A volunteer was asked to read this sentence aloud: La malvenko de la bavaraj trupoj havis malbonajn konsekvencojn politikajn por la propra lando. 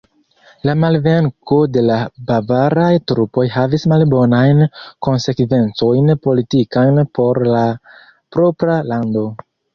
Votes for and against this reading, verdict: 3, 1, accepted